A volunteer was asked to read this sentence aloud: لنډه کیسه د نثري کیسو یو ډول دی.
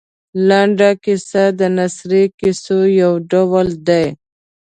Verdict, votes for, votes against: accepted, 2, 1